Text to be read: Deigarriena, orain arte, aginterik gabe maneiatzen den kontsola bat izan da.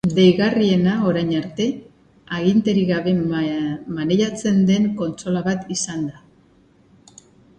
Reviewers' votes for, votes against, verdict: 0, 2, rejected